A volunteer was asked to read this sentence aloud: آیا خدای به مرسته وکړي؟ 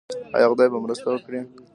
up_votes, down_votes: 2, 1